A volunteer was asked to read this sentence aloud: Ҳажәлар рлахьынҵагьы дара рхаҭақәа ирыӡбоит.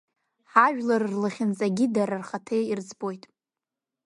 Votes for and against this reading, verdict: 2, 0, accepted